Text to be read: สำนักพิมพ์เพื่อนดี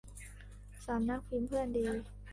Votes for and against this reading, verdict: 2, 0, accepted